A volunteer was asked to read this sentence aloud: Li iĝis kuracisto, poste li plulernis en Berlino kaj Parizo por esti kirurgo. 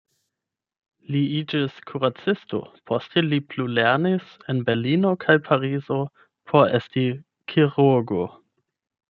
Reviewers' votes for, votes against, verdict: 8, 0, accepted